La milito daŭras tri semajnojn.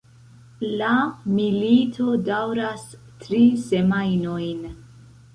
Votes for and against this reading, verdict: 2, 1, accepted